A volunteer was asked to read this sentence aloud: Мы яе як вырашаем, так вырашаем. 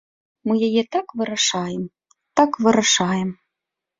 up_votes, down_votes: 2, 1